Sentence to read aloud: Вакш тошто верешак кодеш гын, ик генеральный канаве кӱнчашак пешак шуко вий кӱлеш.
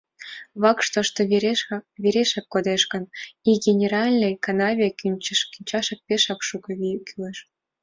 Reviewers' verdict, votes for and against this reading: rejected, 1, 2